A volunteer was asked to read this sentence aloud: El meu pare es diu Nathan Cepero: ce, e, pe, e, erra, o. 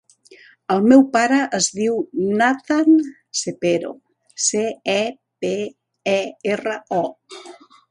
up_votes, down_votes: 3, 0